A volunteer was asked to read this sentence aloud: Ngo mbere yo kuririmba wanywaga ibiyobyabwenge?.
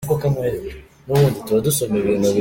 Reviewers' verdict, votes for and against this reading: rejected, 0, 2